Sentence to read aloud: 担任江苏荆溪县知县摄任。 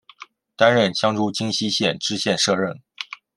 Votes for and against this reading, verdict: 2, 1, accepted